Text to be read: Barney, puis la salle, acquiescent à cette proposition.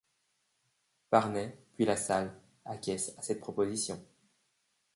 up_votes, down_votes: 2, 0